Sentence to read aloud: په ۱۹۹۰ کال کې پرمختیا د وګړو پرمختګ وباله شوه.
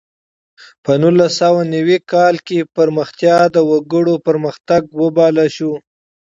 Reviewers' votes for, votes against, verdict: 0, 2, rejected